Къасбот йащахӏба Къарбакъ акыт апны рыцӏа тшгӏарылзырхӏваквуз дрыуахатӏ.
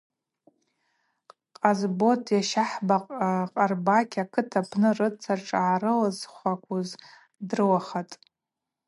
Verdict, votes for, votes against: rejected, 0, 2